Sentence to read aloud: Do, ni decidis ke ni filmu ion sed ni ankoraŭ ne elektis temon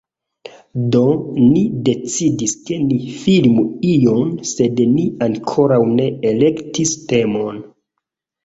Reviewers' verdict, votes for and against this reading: accepted, 2, 0